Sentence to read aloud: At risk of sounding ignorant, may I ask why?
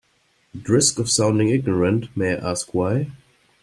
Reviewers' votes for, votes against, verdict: 2, 0, accepted